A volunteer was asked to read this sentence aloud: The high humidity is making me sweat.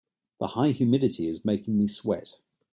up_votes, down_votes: 2, 0